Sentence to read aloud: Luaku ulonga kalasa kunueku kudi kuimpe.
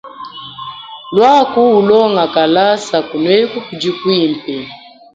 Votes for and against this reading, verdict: 0, 2, rejected